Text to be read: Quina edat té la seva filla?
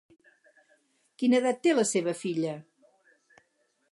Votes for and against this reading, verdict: 4, 0, accepted